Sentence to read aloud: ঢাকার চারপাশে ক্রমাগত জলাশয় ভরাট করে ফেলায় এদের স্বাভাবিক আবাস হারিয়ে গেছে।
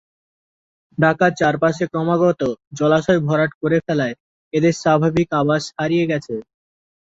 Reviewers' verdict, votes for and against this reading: rejected, 0, 2